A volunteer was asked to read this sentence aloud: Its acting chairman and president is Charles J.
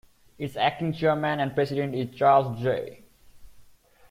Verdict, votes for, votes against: accepted, 2, 1